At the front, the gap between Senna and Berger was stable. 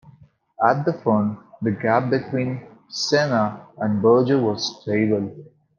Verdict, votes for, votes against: accepted, 2, 1